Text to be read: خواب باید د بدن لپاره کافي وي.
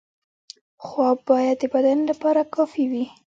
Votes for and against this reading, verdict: 0, 2, rejected